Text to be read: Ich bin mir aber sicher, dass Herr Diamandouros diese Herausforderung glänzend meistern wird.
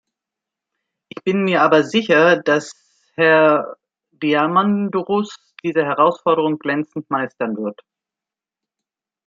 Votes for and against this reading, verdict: 1, 2, rejected